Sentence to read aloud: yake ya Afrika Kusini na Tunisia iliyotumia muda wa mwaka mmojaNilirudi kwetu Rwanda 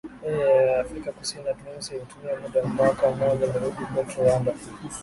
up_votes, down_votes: 0, 2